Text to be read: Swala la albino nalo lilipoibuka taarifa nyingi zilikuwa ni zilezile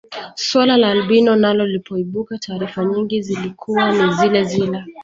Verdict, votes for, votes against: accepted, 2, 1